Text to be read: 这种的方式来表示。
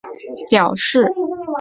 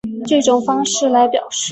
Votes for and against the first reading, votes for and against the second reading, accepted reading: 0, 2, 2, 0, second